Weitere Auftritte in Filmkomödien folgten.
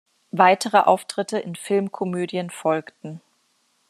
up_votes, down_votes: 3, 0